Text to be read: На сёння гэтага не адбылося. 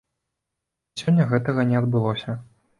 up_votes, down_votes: 1, 2